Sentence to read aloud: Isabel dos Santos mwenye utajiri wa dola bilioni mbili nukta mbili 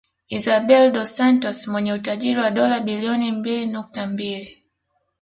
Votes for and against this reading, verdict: 2, 0, accepted